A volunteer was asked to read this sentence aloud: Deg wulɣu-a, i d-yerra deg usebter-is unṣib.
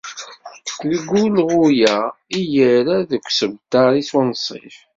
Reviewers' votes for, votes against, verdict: 1, 2, rejected